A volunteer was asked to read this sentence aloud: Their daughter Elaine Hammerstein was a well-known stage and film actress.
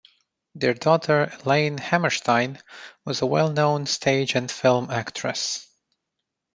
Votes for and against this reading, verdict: 2, 0, accepted